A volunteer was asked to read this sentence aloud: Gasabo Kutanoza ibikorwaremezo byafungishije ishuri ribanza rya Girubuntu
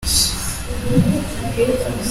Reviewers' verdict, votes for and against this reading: rejected, 0, 2